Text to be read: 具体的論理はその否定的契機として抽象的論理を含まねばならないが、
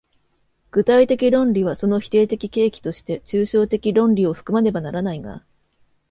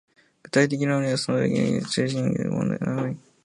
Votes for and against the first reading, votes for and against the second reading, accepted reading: 2, 0, 0, 2, first